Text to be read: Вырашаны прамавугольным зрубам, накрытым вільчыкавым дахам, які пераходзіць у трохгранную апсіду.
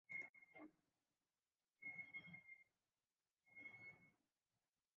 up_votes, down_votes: 0, 2